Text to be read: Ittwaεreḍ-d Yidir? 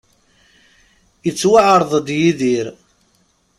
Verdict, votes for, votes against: rejected, 0, 2